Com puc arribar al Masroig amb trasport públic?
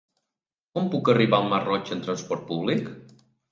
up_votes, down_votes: 2, 1